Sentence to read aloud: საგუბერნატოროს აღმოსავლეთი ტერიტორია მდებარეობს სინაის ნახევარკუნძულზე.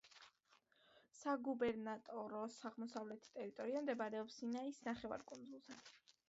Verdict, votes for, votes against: accepted, 2, 0